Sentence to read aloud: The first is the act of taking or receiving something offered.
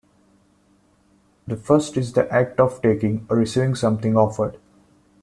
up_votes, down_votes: 2, 0